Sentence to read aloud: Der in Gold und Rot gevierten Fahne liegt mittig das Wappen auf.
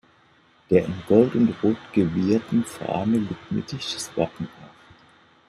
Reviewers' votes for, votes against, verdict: 0, 2, rejected